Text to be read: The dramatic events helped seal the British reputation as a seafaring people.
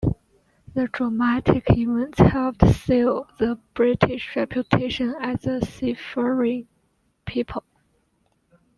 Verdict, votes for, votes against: accepted, 2, 0